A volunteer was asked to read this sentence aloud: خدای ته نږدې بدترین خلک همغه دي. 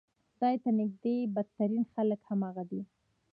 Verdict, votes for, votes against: accepted, 2, 0